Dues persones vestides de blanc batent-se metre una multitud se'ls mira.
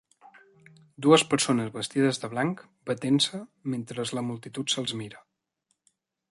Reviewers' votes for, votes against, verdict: 0, 2, rejected